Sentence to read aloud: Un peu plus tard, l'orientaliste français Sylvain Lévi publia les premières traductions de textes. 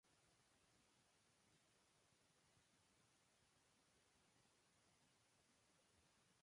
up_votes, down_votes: 0, 2